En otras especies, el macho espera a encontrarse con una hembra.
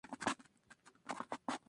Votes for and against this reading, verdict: 0, 2, rejected